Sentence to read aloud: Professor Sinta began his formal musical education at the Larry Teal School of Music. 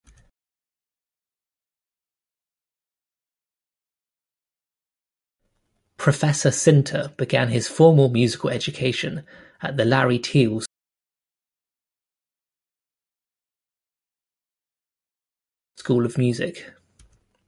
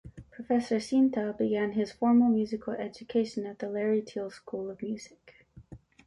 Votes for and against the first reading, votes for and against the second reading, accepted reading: 0, 2, 2, 0, second